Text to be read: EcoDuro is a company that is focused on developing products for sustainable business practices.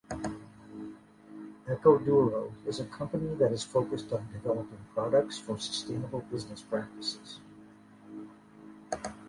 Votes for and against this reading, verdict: 2, 0, accepted